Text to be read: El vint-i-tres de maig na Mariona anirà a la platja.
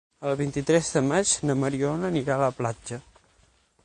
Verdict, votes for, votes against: accepted, 9, 0